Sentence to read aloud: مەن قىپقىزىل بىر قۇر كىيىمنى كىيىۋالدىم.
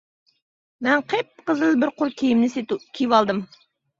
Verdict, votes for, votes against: rejected, 0, 2